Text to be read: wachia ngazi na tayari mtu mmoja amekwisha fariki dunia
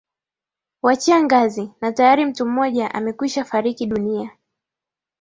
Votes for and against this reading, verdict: 2, 1, accepted